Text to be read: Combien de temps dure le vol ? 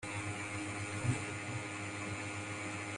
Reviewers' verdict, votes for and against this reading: rejected, 0, 2